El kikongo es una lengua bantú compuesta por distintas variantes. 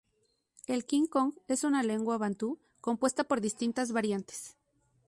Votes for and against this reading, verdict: 0, 2, rejected